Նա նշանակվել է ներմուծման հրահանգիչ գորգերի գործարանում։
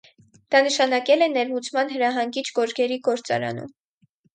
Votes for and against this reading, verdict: 2, 4, rejected